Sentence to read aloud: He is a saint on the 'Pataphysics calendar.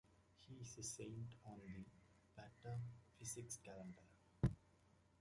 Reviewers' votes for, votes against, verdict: 2, 1, accepted